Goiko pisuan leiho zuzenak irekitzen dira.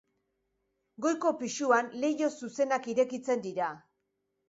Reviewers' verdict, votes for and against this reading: accepted, 2, 0